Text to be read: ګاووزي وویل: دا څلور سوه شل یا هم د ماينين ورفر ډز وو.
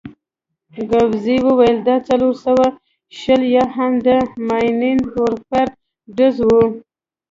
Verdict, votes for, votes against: rejected, 1, 2